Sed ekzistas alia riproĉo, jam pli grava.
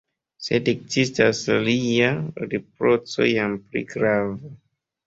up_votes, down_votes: 1, 2